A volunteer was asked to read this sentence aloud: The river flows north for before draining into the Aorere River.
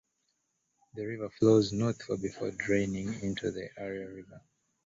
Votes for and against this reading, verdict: 1, 2, rejected